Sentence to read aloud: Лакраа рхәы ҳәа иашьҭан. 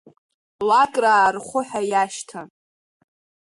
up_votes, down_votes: 3, 1